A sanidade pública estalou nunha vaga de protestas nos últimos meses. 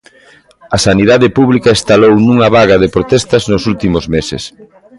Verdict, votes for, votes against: accepted, 2, 0